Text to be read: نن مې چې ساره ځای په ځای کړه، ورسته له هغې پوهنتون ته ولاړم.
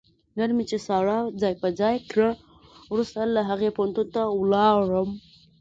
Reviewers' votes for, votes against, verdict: 2, 0, accepted